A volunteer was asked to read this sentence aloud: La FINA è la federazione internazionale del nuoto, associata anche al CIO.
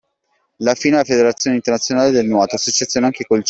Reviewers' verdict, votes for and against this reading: rejected, 0, 2